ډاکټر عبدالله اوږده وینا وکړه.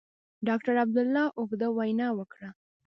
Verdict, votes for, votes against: accepted, 2, 1